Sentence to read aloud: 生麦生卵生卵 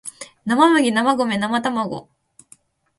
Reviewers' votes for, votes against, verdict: 2, 0, accepted